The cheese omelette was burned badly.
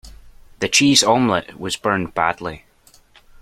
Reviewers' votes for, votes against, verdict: 2, 0, accepted